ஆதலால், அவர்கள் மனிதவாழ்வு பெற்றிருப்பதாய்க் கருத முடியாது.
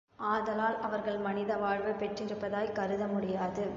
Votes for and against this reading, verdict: 1, 2, rejected